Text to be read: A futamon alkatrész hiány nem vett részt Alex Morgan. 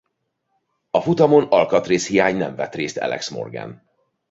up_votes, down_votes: 0, 2